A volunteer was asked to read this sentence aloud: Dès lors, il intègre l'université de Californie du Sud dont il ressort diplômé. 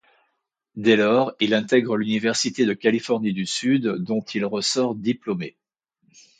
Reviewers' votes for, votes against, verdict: 2, 0, accepted